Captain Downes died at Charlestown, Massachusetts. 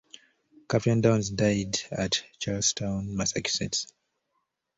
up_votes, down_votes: 0, 2